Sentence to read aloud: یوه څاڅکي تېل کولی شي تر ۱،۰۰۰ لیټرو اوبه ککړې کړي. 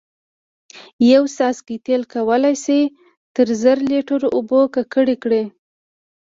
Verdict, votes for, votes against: rejected, 0, 2